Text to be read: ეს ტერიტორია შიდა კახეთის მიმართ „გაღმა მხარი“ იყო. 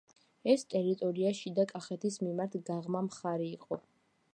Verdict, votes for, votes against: accepted, 2, 0